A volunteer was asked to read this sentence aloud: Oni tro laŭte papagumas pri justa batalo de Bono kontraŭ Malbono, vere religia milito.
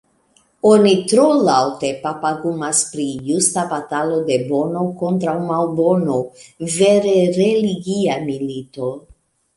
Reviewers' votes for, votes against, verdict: 1, 2, rejected